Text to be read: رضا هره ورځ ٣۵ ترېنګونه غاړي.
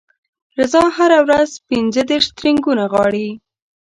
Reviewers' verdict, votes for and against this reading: rejected, 0, 2